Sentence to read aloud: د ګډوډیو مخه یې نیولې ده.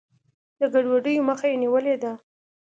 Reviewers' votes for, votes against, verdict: 2, 0, accepted